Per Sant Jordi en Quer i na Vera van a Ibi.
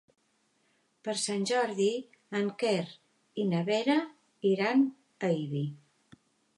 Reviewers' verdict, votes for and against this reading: rejected, 2, 3